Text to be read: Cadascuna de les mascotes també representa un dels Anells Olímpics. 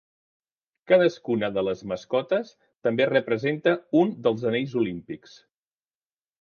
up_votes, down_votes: 3, 0